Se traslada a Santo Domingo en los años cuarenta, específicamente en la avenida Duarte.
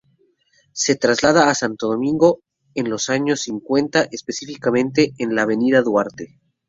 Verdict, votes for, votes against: rejected, 0, 2